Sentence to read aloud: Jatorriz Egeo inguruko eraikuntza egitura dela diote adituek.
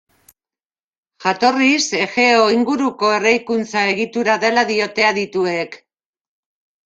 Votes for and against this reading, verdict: 0, 2, rejected